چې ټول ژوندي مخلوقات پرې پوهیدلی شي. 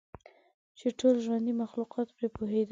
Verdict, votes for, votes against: rejected, 3, 8